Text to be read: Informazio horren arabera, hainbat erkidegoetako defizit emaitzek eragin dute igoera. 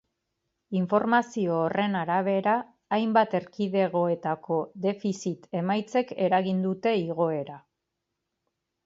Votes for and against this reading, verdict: 2, 0, accepted